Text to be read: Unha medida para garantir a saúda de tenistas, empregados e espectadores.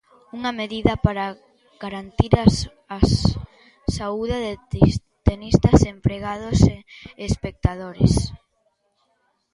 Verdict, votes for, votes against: rejected, 0, 2